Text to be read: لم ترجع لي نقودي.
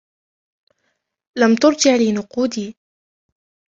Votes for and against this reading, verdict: 2, 0, accepted